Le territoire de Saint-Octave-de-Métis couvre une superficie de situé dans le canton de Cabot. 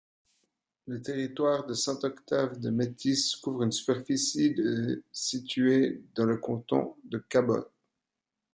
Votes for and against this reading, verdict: 2, 0, accepted